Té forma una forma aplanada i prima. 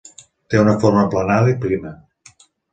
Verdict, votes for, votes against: accepted, 2, 0